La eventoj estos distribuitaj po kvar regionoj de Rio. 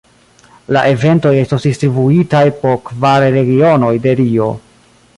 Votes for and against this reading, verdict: 1, 2, rejected